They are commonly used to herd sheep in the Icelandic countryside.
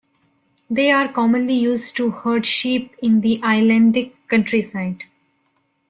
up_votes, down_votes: 1, 2